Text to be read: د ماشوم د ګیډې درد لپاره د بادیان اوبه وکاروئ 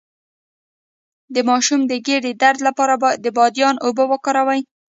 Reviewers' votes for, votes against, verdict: 1, 2, rejected